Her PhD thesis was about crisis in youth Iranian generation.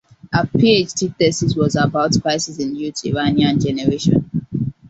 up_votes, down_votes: 2, 0